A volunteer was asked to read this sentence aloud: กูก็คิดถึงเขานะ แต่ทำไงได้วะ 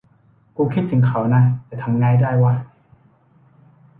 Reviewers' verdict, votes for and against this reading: rejected, 1, 2